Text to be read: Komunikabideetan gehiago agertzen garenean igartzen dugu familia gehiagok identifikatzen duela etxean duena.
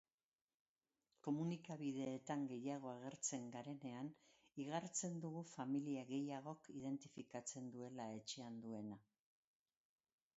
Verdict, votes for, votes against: accepted, 2, 1